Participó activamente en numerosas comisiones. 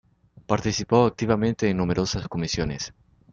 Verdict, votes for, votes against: accepted, 2, 0